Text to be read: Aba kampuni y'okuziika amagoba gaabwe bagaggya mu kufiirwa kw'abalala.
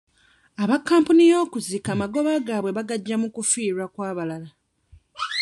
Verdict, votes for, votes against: rejected, 1, 2